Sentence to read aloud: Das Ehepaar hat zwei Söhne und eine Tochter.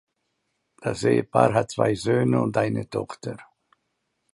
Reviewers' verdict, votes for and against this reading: accepted, 2, 0